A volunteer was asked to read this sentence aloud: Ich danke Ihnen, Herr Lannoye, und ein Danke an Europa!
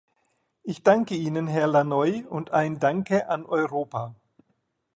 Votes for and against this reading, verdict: 2, 0, accepted